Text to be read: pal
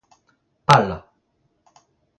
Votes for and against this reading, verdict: 2, 0, accepted